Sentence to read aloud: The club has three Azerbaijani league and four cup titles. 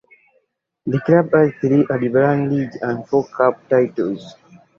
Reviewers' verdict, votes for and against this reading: rejected, 1, 3